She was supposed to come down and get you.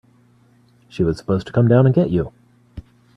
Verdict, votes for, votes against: accepted, 2, 1